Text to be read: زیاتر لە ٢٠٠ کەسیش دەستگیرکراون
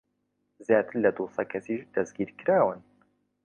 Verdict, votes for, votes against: rejected, 0, 2